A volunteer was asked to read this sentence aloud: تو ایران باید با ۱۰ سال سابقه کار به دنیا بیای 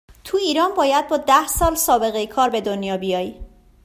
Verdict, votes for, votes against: rejected, 0, 2